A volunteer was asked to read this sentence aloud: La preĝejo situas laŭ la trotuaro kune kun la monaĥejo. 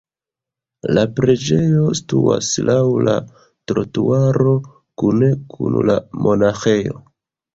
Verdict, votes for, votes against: rejected, 1, 2